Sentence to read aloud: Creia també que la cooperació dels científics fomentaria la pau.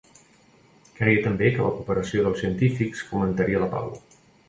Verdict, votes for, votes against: accepted, 2, 0